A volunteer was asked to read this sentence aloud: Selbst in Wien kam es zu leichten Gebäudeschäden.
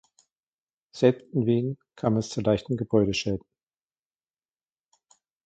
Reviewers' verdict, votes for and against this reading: accepted, 2, 1